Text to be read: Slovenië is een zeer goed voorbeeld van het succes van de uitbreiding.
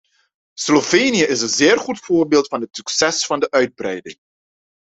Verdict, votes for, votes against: accepted, 2, 0